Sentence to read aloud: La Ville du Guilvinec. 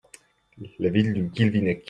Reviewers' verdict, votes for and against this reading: accepted, 2, 0